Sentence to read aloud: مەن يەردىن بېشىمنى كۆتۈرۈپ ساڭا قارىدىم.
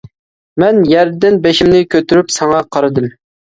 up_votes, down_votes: 2, 0